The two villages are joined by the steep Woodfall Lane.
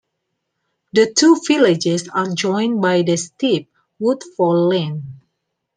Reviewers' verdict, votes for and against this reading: accepted, 2, 0